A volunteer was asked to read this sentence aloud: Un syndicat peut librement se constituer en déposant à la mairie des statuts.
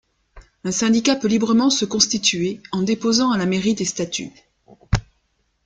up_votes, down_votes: 2, 0